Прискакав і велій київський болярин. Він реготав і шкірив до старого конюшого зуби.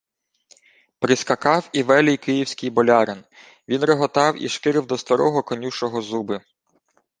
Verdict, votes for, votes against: accepted, 2, 0